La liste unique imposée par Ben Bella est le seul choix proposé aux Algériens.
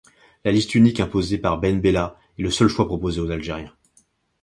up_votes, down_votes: 2, 0